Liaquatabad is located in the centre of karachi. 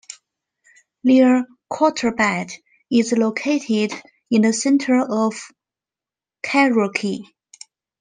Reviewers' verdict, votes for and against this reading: accepted, 2, 0